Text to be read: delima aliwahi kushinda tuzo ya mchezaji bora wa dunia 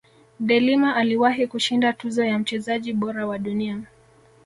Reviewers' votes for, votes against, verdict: 2, 0, accepted